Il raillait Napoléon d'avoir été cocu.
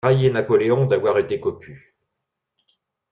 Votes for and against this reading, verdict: 0, 2, rejected